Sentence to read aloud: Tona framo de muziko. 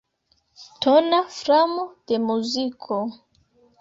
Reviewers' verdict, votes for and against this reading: accepted, 2, 0